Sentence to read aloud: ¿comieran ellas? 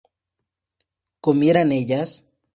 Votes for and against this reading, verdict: 2, 0, accepted